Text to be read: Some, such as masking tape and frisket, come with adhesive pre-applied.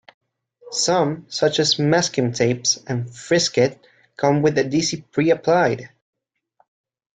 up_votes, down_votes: 1, 2